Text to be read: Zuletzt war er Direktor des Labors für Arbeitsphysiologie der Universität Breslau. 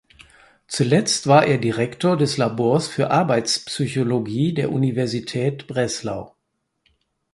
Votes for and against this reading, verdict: 2, 4, rejected